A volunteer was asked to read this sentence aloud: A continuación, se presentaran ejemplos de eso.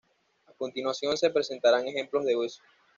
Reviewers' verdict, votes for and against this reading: rejected, 1, 2